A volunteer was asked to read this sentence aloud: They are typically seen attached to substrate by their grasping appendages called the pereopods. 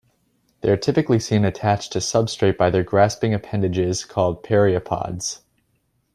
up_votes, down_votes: 0, 2